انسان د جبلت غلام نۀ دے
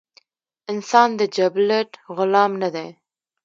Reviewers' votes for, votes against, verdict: 1, 2, rejected